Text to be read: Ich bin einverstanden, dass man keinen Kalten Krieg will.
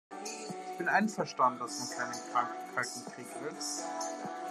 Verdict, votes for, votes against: rejected, 0, 2